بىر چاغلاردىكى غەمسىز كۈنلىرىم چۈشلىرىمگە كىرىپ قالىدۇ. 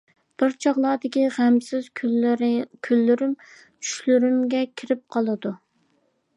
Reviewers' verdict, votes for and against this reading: accepted, 2, 1